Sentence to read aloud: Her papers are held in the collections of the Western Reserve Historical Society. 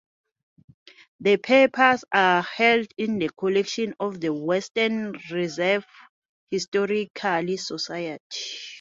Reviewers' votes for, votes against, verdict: 2, 0, accepted